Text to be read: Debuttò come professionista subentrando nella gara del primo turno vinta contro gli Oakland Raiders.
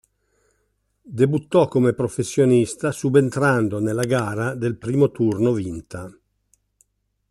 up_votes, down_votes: 0, 2